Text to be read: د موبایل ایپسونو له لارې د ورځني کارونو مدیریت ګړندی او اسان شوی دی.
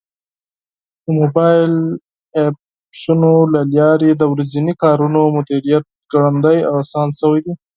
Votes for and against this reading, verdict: 2, 6, rejected